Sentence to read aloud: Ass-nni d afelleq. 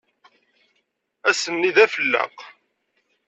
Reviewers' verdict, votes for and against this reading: accepted, 2, 0